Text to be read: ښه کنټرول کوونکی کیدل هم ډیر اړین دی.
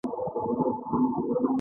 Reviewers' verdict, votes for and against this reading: rejected, 1, 2